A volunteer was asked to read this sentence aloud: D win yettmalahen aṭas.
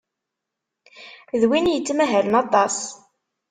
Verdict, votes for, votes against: rejected, 1, 2